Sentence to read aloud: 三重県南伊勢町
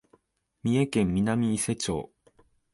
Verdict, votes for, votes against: accepted, 2, 0